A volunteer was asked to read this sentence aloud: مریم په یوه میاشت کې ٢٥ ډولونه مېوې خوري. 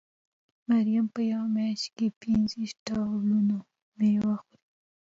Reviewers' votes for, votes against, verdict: 0, 2, rejected